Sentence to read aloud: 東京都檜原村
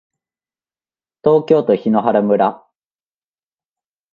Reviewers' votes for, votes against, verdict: 2, 0, accepted